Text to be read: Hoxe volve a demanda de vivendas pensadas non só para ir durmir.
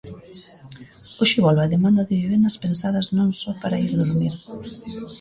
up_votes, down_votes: 1, 2